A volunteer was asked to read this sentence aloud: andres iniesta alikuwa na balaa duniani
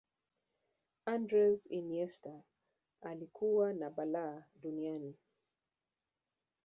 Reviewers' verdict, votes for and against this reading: accepted, 2, 1